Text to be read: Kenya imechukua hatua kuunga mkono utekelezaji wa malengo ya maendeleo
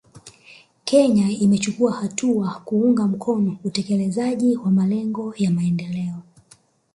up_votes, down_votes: 2, 0